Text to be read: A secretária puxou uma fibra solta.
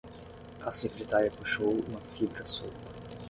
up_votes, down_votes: 5, 5